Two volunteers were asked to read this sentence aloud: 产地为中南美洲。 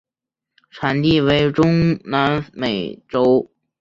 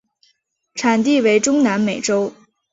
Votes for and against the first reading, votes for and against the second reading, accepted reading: 0, 2, 2, 1, second